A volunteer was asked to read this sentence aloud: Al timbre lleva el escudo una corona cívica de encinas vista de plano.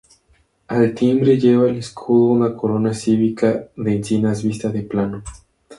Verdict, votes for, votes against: rejected, 0, 2